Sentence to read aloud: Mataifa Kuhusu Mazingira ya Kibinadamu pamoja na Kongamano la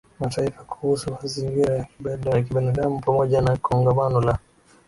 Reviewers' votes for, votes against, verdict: 6, 13, rejected